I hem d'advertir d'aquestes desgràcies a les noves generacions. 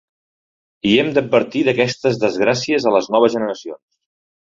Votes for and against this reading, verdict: 2, 0, accepted